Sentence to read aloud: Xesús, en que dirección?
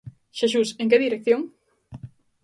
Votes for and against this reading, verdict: 2, 0, accepted